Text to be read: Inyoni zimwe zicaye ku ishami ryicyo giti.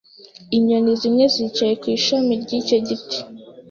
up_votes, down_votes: 2, 0